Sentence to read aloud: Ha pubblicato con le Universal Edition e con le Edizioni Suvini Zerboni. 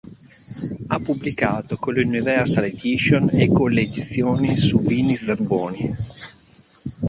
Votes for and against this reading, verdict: 0, 2, rejected